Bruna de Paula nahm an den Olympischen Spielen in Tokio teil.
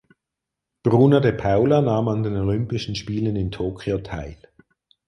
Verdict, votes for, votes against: accepted, 4, 0